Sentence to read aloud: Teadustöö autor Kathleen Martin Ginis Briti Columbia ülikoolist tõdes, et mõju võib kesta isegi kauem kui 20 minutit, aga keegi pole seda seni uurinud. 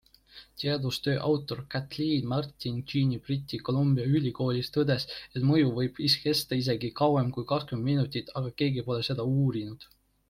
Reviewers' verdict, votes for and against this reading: rejected, 0, 2